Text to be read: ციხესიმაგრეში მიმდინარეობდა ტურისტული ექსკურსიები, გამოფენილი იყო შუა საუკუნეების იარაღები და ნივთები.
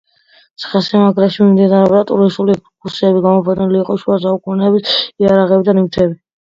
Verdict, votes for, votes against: accepted, 2, 1